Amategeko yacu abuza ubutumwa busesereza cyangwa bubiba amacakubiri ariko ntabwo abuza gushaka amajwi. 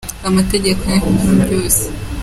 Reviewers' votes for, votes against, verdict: 0, 2, rejected